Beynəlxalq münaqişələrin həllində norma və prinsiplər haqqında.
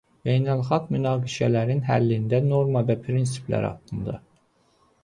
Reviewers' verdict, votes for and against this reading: accepted, 2, 0